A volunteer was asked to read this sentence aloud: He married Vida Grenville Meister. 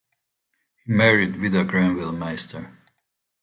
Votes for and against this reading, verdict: 0, 2, rejected